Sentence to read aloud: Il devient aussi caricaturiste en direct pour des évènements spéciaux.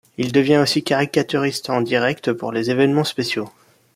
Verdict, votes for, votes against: rejected, 1, 2